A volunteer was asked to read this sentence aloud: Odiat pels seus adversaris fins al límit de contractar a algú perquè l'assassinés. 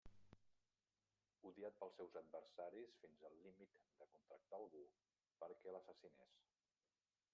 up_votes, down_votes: 0, 2